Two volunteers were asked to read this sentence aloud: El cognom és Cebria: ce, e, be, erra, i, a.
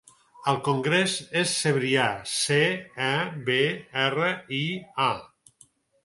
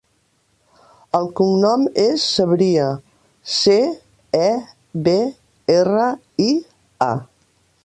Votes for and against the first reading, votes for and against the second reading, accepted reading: 2, 4, 2, 0, second